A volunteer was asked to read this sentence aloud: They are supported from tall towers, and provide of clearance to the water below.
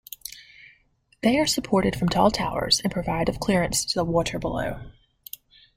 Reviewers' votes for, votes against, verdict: 1, 2, rejected